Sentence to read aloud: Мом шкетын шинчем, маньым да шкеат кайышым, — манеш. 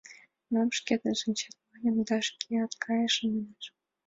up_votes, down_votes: 2, 1